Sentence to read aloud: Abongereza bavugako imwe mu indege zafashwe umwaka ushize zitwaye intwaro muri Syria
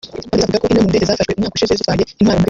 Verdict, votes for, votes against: rejected, 0, 2